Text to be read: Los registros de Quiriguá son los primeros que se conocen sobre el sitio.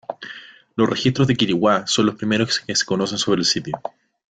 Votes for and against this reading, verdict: 0, 2, rejected